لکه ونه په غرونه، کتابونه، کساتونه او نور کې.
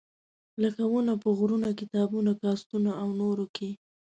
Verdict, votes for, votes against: rejected, 1, 2